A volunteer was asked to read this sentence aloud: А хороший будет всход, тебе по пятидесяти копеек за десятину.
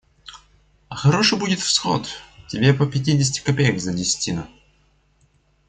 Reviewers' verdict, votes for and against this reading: accepted, 2, 0